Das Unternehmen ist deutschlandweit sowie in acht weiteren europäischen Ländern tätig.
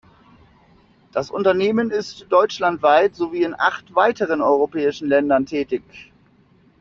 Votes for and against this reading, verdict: 2, 0, accepted